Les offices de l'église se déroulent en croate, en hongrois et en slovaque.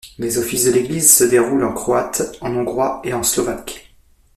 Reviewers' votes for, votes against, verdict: 2, 0, accepted